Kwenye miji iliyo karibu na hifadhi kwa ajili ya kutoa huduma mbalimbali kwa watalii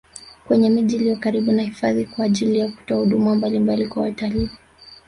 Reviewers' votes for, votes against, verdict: 1, 2, rejected